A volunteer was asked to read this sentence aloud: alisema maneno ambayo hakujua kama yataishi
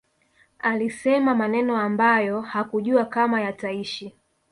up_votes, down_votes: 0, 2